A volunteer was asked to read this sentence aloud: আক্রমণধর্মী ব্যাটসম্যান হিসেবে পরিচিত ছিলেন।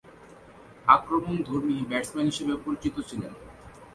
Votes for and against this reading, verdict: 2, 0, accepted